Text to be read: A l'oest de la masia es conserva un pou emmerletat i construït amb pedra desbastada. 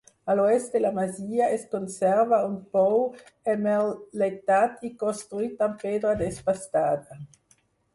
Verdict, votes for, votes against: rejected, 0, 4